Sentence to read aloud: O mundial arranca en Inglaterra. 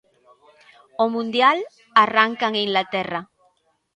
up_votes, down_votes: 2, 1